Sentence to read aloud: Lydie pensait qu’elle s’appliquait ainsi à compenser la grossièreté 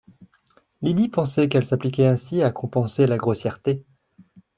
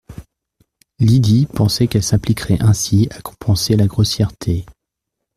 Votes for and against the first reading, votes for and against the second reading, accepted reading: 2, 0, 1, 2, first